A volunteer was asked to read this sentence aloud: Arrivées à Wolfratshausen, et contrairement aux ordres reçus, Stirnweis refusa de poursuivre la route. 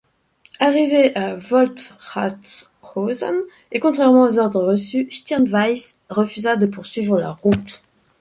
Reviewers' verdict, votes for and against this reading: accepted, 2, 0